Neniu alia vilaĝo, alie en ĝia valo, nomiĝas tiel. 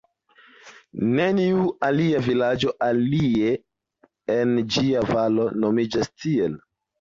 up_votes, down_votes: 0, 2